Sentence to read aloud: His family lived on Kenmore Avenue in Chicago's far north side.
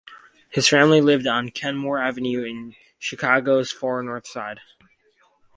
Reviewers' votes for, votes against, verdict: 4, 0, accepted